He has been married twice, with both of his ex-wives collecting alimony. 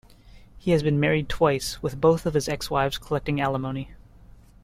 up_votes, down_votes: 2, 0